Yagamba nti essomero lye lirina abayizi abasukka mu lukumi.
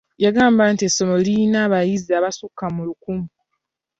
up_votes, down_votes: 1, 2